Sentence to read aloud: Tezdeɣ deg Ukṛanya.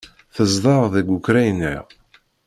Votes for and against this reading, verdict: 3, 0, accepted